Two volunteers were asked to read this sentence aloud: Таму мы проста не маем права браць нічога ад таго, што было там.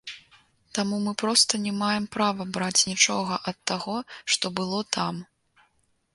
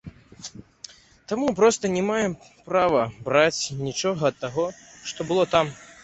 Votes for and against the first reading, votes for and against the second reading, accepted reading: 2, 0, 0, 2, first